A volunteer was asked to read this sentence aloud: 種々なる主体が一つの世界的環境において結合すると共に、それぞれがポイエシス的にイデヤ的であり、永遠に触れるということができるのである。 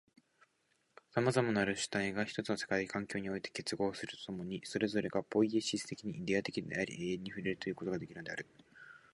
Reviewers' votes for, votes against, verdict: 2, 1, accepted